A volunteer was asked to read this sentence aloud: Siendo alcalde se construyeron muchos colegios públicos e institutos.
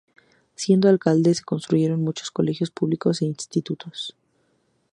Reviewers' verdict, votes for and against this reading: accepted, 4, 0